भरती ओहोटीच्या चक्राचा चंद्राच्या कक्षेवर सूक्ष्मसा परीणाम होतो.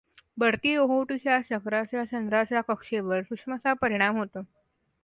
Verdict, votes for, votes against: accepted, 2, 0